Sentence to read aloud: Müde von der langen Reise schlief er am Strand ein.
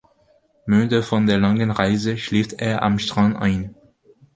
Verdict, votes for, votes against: rejected, 1, 2